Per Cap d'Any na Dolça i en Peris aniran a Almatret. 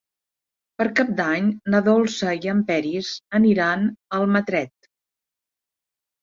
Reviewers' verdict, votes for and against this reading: accepted, 4, 0